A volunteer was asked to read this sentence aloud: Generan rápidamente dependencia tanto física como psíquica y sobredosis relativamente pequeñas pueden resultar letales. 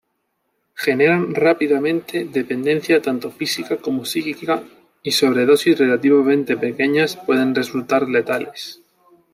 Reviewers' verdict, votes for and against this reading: accepted, 2, 0